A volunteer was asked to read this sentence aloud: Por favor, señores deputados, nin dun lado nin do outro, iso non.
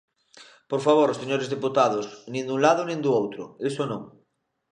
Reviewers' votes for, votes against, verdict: 2, 0, accepted